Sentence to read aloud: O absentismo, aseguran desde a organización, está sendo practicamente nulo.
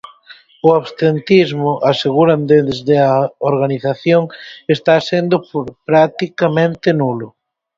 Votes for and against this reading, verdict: 2, 4, rejected